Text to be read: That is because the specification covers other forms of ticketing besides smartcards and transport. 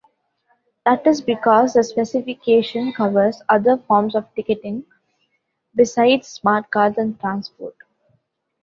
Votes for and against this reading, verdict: 2, 1, accepted